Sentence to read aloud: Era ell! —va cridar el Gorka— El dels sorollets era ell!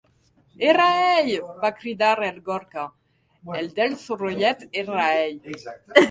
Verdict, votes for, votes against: accepted, 2, 1